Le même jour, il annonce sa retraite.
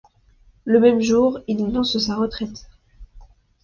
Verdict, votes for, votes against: accepted, 2, 0